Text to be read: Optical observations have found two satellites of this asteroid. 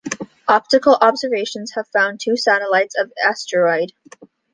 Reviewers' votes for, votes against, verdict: 1, 2, rejected